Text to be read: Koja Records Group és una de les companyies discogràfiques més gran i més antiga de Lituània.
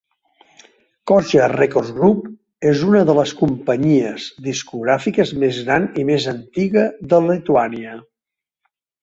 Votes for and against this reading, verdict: 2, 0, accepted